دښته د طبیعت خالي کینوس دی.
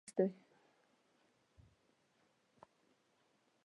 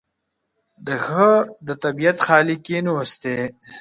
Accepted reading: second